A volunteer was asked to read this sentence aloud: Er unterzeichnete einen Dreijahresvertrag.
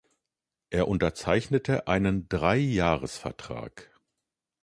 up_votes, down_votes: 2, 0